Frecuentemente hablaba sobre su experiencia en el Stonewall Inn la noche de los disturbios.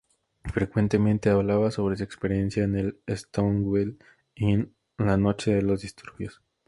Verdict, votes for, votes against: rejected, 0, 2